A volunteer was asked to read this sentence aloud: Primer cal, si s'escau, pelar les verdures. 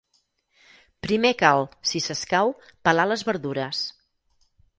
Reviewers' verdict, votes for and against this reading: rejected, 2, 4